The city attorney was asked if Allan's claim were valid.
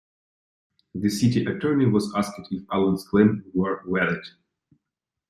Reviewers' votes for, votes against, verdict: 2, 0, accepted